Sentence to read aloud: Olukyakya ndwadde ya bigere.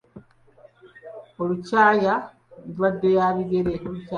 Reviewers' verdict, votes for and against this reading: rejected, 1, 2